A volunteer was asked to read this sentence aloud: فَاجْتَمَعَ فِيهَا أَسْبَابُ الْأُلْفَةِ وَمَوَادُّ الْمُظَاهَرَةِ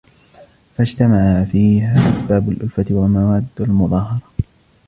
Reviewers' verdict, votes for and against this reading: rejected, 0, 2